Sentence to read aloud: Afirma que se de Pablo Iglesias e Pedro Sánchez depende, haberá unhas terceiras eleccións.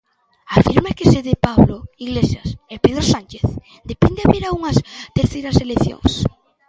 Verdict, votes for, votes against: rejected, 0, 2